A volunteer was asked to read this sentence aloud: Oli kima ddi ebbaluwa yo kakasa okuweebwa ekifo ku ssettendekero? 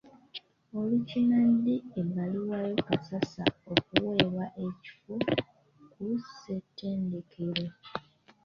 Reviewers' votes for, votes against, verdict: 1, 2, rejected